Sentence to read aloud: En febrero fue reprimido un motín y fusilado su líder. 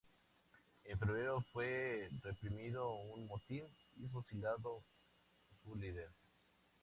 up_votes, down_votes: 2, 0